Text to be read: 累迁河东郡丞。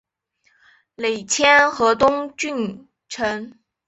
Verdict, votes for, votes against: accepted, 2, 0